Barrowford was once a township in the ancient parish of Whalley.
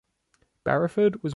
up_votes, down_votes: 0, 2